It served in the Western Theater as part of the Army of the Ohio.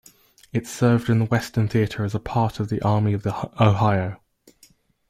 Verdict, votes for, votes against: rejected, 1, 2